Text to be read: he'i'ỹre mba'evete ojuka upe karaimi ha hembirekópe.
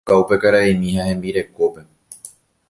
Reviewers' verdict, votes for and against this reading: rejected, 0, 2